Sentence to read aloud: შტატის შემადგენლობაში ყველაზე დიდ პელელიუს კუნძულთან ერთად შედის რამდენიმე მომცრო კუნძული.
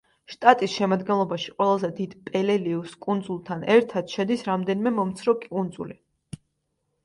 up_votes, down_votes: 2, 0